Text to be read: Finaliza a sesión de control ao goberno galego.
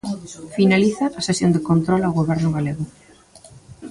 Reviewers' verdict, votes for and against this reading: accepted, 2, 1